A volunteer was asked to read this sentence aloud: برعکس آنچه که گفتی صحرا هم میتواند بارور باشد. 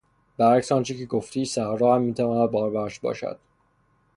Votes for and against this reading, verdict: 0, 3, rejected